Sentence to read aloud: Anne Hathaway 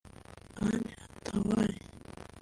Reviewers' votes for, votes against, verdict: 0, 2, rejected